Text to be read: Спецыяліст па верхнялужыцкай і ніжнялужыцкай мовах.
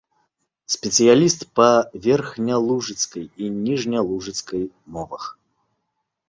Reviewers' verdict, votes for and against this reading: accepted, 2, 1